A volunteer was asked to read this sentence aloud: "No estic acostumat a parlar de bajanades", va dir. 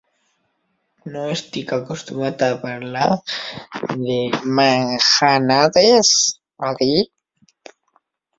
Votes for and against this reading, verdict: 0, 2, rejected